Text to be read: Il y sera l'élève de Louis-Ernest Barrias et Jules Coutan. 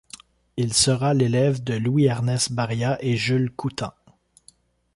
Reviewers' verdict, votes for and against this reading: rejected, 1, 2